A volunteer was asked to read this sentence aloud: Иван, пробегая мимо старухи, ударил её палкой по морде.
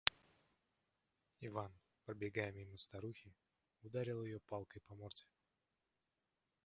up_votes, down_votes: 1, 2